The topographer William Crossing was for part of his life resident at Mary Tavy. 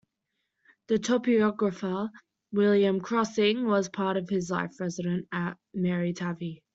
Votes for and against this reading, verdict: 0, 2, rejected